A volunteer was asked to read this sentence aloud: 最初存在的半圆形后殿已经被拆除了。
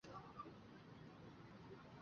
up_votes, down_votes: 1, 3